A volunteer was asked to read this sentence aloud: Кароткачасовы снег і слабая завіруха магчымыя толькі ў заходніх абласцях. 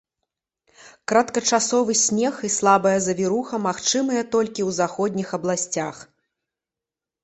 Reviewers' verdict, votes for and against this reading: rejected, 1, 2